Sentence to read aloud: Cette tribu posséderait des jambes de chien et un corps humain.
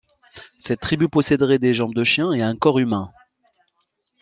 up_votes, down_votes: 2, 0